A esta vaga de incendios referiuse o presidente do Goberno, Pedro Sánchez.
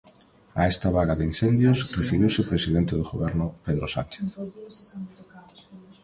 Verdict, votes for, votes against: rejected, 0, 2